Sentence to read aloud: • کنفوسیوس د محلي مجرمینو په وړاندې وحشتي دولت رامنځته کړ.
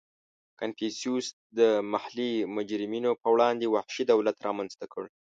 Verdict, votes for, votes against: rejected, 0, 2